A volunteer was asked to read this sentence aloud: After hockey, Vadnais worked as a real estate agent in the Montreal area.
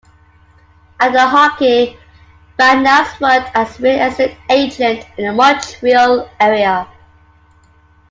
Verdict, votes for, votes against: accepted, 2, 0